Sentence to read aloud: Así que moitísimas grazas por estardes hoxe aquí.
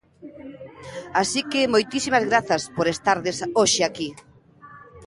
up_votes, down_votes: 2, 0